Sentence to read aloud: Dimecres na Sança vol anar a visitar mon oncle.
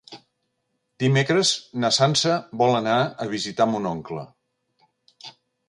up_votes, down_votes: 2, 1